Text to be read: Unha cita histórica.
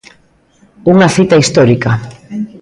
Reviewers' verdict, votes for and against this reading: rejected, 1, 2